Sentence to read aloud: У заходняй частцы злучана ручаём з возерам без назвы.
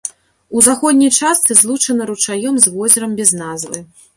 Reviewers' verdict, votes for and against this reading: accepted, 2, 0